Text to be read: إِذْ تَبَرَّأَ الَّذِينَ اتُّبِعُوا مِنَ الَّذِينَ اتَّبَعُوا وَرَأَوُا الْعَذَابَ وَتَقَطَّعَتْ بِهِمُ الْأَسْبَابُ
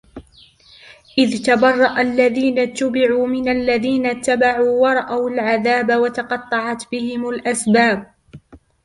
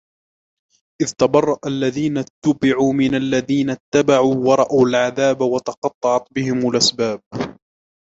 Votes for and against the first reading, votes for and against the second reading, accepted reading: 2, 0, 1, 2, first